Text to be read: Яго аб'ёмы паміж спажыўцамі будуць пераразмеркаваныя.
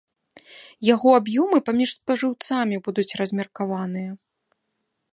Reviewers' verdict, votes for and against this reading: rejected, 0, 2